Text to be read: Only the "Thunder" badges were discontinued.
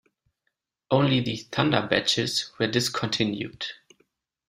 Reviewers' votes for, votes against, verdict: 2, 0, accepted